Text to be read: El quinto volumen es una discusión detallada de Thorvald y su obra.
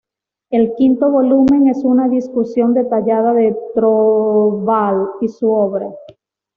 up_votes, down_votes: 1, 2